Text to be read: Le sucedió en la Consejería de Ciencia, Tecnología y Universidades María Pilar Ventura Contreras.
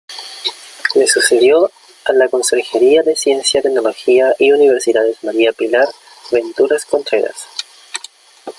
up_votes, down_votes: 1, 2